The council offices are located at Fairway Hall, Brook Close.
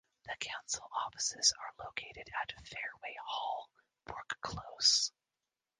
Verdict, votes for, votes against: rejected, 1, 2